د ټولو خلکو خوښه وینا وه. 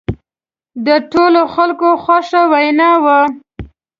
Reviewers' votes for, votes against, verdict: 2, 0, accepted